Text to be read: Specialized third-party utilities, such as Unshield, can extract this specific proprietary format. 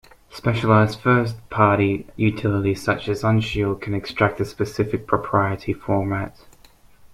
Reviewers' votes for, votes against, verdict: 1, 2, rejected